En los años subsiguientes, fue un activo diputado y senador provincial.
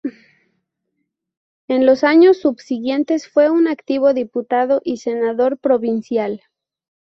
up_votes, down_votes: 0, 2